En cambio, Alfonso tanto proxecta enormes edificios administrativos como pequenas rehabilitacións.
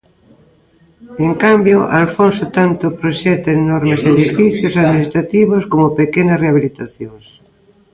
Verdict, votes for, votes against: rejected, 0, 2